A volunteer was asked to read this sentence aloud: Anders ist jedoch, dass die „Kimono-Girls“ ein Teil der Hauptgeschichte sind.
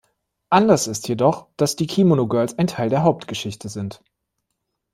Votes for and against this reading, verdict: 2, 0, accepted